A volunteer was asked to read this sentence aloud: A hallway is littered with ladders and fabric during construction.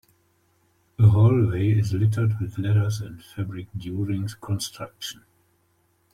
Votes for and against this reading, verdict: 1, 2, rejected